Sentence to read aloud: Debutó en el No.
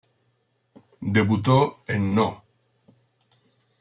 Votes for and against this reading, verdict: 0, 2, rejected